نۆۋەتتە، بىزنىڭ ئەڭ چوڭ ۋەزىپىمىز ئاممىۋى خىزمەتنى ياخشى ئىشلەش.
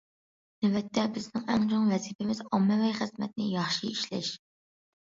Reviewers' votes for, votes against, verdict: 2, 0, accepted